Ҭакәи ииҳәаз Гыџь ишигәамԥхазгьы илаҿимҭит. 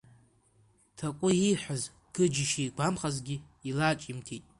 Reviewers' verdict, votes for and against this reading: rejected, 0, 2